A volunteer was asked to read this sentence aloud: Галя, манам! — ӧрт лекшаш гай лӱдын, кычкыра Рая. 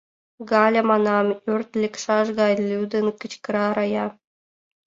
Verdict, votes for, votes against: accepted, 2, 0